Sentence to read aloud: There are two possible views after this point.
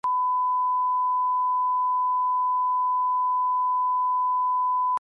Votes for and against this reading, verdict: 0, 2, rejected